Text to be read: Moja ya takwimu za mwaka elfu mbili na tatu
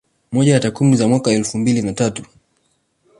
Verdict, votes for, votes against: accepted, 2, 0